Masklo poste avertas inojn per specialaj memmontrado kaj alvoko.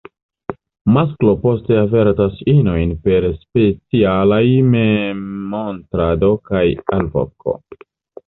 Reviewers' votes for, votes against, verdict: 2, 1, accepted